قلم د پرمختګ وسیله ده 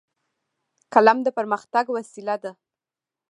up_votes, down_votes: 2, 1